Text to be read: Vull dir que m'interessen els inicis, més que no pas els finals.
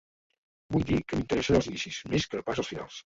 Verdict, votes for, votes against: rejected, 0, 2